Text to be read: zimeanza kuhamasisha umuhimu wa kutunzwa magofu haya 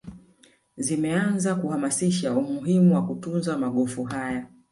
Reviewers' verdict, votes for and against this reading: rejected, 0, 2